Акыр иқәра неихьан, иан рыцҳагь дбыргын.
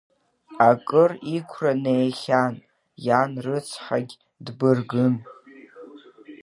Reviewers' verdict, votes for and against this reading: rejected, 0, 2